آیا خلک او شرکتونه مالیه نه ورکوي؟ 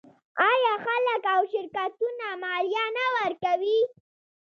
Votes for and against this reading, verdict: 1, 2, rejected